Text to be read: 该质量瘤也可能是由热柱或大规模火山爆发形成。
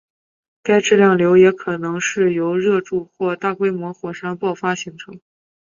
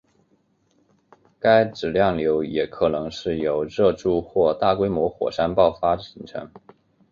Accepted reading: first